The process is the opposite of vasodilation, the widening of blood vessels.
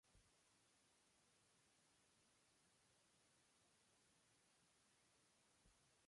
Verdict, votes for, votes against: rejected, 1, 2